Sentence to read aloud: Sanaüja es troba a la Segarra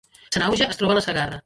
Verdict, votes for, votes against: rejected, 0, 2